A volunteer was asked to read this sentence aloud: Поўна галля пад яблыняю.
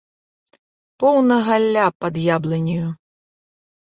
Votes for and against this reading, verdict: 2, 1, accepted